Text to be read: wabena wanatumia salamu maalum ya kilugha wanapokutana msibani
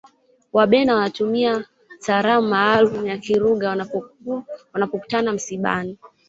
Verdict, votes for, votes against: rejected, 1, 2